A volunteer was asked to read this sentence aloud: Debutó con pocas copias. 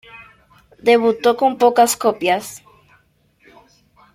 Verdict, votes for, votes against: accepted, 2, 0